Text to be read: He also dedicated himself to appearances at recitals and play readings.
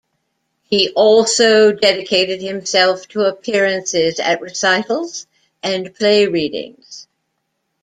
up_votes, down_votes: 2, 0